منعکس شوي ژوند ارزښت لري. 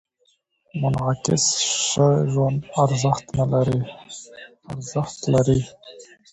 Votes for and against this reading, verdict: 0, 2, rejected